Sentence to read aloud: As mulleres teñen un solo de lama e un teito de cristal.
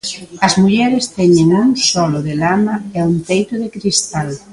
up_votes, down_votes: 1, 2